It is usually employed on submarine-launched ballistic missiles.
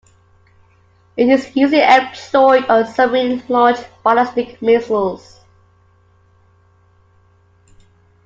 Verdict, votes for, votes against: rejected, 0, 2